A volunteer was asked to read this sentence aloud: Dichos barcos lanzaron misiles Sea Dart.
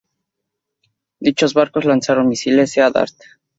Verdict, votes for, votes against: accepted, 4, 0